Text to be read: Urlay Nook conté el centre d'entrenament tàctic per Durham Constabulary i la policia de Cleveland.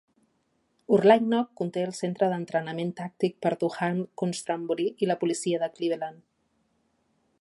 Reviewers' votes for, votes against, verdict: 1, 2, rejected